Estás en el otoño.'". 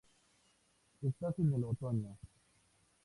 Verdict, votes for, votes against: accepted, 4, 0